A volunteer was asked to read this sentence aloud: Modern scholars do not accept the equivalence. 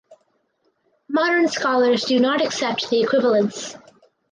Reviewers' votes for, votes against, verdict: 4, 0, accepted